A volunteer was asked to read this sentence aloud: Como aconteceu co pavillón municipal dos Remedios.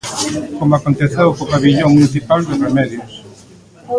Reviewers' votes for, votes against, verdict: 1, 2, rejected